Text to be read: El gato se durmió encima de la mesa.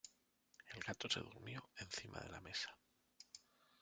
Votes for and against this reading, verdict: 1, 2, rejected